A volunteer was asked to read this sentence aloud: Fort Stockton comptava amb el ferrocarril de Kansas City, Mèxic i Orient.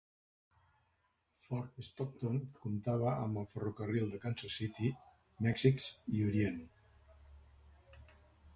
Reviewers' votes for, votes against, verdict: 1, 2, rejected